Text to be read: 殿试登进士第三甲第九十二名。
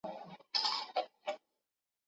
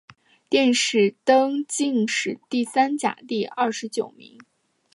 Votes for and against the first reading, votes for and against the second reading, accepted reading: 0, 2, 3, 0, second